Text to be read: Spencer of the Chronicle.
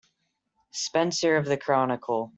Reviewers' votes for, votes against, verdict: 2, 0, accepted